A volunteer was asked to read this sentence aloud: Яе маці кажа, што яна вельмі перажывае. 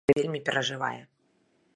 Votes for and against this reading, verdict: 1, 2, rejected